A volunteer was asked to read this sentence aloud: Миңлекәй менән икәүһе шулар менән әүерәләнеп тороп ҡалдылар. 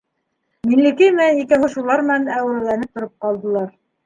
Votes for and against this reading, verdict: 2, 0, accepted